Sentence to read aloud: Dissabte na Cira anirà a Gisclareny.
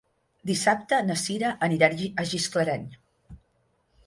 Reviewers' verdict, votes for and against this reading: rejected, 3, 6